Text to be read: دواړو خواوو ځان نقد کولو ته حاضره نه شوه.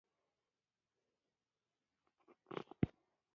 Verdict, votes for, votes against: rejected, 1, 2